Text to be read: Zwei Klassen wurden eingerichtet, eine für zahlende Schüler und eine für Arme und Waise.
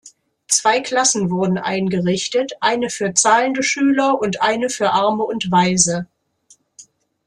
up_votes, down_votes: 2, 0